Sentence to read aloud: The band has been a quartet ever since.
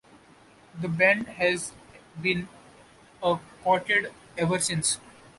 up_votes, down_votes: 2, 1